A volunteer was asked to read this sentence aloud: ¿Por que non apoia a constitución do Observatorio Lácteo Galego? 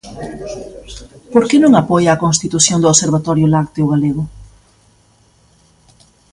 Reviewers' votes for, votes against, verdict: 2, 0, accepted